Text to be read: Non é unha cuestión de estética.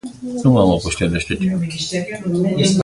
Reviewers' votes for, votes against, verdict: 0, 2, rejected